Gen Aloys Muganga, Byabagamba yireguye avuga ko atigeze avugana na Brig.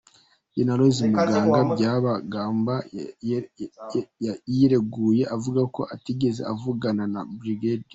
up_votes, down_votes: 1, 2